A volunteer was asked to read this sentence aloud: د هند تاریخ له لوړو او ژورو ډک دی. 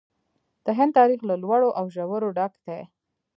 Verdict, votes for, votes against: rejected, 1, 2